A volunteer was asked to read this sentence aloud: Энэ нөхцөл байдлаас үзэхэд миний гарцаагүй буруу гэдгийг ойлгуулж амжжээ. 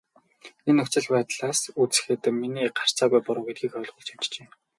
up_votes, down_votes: 0, 2